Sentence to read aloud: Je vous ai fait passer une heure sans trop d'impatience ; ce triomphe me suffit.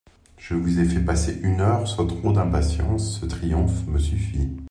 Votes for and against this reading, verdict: 2, 0, accepted